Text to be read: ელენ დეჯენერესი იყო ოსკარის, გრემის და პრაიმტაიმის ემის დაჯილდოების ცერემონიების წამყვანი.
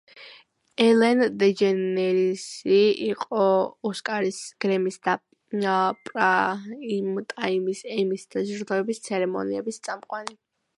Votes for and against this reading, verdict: 0, 2, rejected